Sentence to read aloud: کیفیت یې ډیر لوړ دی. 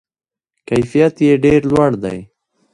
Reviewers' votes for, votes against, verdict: 2, 0, accepted